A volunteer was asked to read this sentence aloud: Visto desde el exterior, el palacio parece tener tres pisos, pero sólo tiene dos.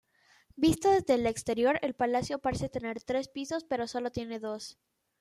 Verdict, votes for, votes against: accepted, 2, 0